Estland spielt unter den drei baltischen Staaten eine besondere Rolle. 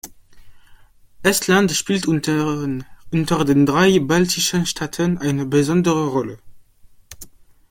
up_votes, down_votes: 0, 2